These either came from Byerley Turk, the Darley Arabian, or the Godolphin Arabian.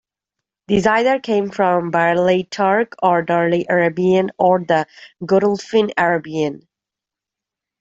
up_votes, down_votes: 1, 2